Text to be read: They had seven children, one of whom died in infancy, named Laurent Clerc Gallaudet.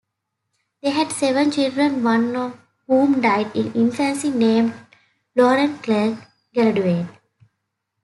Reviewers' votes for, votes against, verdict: 0, 2, rejected